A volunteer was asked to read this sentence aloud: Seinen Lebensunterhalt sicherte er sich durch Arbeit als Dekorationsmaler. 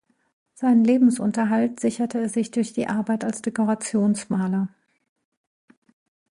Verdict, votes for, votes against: rejected, 0, 2